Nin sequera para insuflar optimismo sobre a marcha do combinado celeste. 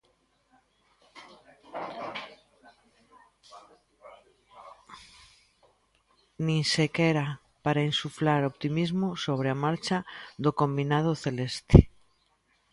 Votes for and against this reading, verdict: 2, 0, accepted